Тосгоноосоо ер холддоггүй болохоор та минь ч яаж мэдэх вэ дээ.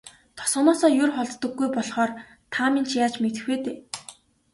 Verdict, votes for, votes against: accepted, 2, 0